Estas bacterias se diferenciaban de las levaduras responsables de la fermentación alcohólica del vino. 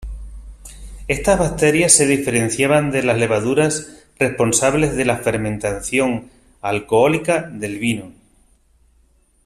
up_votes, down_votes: 0, 2